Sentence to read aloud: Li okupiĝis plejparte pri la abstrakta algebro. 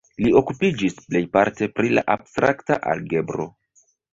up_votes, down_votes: 2, 1